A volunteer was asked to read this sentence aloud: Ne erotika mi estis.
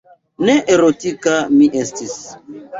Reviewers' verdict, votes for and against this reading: accepted, 2, 0